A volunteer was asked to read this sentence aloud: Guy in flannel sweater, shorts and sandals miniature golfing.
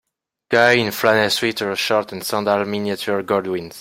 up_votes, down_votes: 0, 2